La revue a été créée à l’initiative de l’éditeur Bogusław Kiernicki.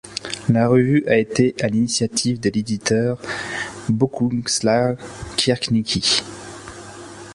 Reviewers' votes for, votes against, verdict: 1, 2, rejected